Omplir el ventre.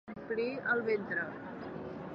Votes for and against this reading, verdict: 2, 0, accepted